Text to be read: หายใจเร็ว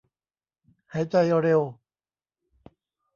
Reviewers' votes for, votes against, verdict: 1, 2, rejected